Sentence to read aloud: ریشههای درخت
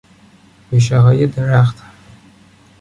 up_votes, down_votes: 2, 0